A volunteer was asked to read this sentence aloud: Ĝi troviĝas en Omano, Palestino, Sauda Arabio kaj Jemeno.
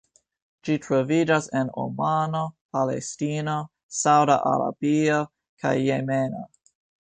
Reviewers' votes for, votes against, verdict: 2, 1, accepted